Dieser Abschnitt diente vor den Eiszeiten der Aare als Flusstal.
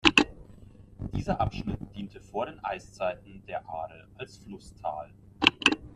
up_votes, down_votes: 2, 0